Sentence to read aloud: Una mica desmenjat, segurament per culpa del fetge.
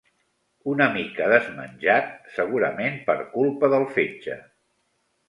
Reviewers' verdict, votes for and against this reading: accepted, 4, 0